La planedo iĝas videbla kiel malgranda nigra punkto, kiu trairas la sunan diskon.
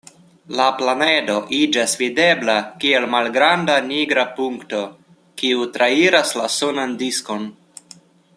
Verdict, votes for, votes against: accepted, 2, 0